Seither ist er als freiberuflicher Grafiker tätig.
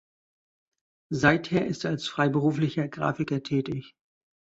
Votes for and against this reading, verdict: 2, 0, accepted